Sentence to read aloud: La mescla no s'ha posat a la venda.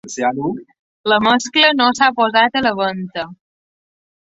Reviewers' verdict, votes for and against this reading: rejected, 1, 2